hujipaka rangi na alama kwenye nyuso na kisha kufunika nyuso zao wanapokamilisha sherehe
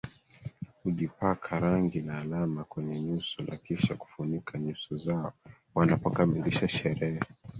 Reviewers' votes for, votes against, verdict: 3, 1, accepted